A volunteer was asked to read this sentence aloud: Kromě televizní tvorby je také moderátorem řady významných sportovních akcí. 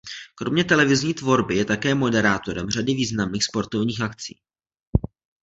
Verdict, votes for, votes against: accepted, 2, 0